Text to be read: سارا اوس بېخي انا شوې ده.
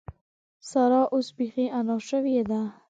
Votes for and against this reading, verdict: 2, 0, accepted